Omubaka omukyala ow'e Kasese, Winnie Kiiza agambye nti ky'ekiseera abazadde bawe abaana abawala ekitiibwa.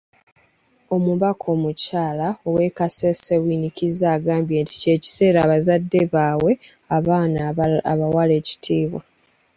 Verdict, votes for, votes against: rejected, 1, 2